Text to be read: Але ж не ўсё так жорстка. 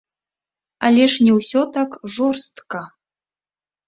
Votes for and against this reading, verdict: 1, 2, rejected